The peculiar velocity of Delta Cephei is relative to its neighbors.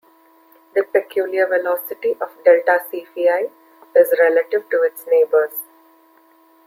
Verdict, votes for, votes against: rejected, 1, 2